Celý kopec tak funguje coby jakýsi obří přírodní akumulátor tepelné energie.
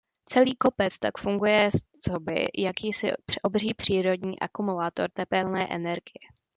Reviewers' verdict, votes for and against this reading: accepted, 2, 1